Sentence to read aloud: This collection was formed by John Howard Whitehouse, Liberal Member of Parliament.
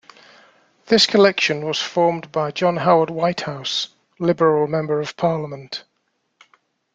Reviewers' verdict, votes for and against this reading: accepted, 2, 0